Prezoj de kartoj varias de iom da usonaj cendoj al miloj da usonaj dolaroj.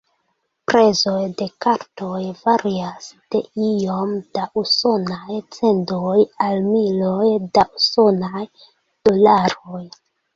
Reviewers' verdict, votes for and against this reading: rejected, 0, 2